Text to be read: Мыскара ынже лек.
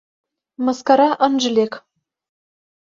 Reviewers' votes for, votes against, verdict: 2, 0, accepted